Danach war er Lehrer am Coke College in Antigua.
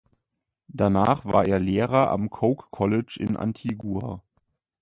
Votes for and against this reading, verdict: 2, 0, accepted